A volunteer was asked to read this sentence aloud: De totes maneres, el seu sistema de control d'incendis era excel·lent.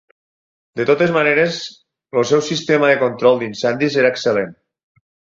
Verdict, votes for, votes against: rejected, 2, 4